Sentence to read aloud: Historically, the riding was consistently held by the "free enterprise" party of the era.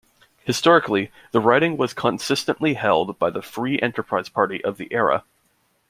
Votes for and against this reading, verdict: 2, 0, accepted